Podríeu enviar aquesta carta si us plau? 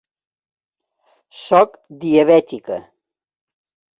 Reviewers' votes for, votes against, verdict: 0, 3, rejected